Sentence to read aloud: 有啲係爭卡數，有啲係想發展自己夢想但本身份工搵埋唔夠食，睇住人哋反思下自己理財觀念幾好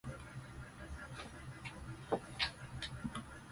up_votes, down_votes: 0, 4